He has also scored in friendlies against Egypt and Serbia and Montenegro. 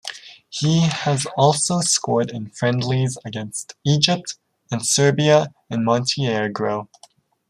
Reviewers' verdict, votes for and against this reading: rejected, 0, 2